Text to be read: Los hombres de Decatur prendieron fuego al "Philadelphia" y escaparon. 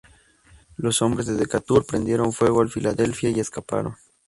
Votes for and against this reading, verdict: 2, 0, accepted